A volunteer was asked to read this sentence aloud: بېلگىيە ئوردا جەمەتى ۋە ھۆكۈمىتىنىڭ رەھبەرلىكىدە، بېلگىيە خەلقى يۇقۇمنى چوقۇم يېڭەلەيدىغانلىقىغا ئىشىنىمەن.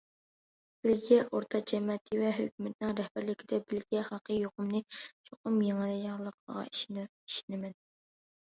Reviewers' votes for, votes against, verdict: 0, 2, rejected